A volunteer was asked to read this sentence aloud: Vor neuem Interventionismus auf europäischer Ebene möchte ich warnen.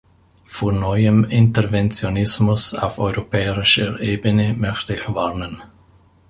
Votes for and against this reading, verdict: 0, 2, rejected